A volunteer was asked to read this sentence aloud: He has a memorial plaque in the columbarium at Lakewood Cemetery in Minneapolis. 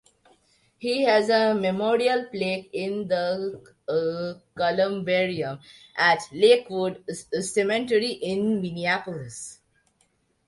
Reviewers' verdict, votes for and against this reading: rejected, 0, 2